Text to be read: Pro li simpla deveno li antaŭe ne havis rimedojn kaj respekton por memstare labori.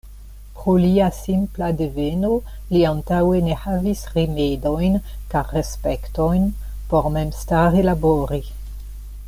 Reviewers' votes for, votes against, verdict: 1, 2, rejected